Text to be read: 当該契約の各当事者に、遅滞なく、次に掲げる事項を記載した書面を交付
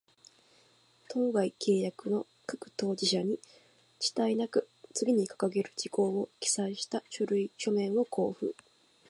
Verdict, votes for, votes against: rejected, 0, 2